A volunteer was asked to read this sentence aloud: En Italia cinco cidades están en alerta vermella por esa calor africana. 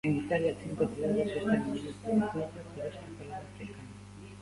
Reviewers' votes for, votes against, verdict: 0, 2, rejected